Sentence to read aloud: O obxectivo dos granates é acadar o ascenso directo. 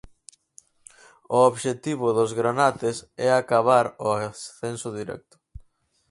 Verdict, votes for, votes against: rejected, 0, 4